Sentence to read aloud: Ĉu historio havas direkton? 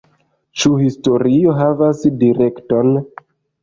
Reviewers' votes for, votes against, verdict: 2, 0, accepted